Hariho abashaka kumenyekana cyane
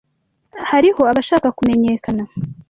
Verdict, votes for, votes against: rejected, 1, 2